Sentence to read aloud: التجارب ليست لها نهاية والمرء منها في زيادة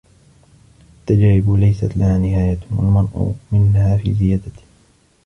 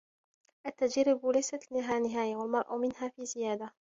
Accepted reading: second